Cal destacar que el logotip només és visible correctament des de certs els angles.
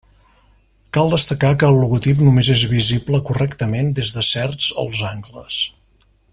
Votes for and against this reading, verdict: 2, 0, accepted